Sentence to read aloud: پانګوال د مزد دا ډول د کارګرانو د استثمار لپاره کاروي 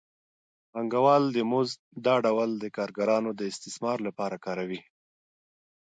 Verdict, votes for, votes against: accepted, 2, 0